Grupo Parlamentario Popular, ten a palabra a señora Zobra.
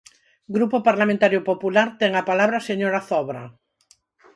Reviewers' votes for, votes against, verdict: 6, 0, accepted